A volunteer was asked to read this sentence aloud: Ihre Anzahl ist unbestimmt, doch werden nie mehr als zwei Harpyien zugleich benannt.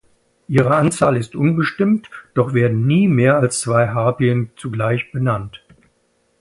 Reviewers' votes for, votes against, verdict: 2, 0, accepted